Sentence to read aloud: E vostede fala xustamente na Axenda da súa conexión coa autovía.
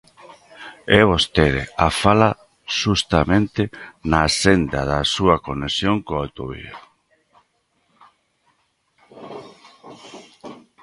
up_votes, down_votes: 1, 2